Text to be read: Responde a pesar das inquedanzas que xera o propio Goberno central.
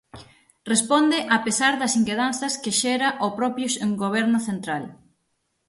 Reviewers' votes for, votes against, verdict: 0, 6, rejected